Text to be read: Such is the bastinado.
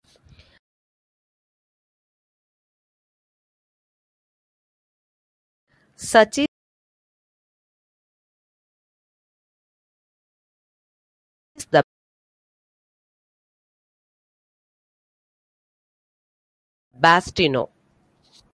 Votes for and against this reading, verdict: 0, 2, rejected